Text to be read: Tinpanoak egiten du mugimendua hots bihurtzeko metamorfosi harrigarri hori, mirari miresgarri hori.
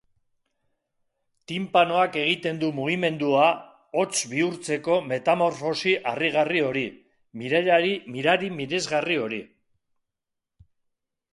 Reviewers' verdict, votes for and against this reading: rejected, 0, 2